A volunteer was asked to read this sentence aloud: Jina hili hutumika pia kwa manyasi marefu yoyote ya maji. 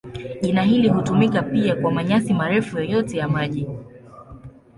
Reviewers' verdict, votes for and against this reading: accepted, 2, 0